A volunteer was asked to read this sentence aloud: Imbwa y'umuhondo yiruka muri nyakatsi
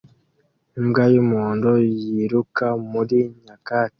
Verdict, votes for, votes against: accepted, 2, 0